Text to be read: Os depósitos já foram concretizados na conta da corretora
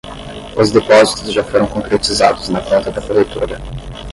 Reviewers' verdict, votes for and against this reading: rejected, 5, 5